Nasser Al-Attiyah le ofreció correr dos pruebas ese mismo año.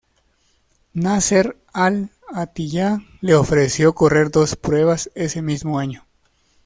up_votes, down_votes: 1, 2